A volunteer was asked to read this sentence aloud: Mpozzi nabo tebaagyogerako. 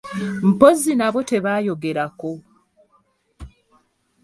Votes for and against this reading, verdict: 0, 2, rejected